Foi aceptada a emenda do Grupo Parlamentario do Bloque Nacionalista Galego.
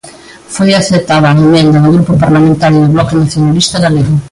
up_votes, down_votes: 0, 2